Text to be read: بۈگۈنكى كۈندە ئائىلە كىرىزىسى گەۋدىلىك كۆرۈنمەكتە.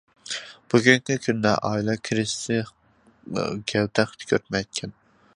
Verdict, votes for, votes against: rejected, 0, 2